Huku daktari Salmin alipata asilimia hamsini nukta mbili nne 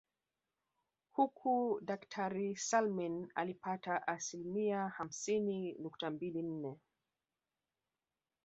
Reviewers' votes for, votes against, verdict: 2, 0, accepted